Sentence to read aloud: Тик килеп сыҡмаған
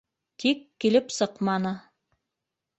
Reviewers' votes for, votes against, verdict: 1, 2, rejected